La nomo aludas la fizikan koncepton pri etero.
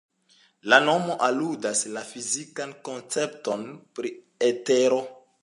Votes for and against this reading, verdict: 2, 0, accepted